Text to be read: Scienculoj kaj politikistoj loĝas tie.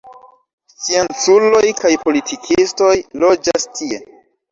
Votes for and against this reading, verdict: 0, 2, rejected